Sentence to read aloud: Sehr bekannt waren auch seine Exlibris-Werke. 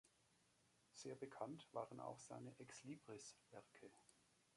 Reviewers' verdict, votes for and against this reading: accepted, 2, 0